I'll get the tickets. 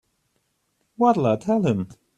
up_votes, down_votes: 0, 2